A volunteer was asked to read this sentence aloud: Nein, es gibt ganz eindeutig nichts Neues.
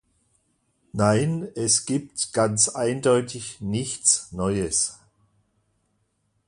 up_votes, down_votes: 2, 0